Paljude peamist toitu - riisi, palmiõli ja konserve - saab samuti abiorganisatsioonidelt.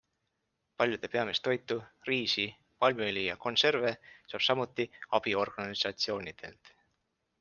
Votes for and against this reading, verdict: 3, 0, accepted